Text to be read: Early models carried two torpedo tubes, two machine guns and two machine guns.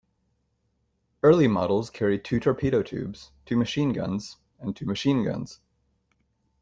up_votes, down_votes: 2, 0